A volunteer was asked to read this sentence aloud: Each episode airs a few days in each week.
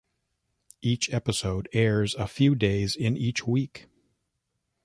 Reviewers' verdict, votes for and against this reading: accepted, 2, 0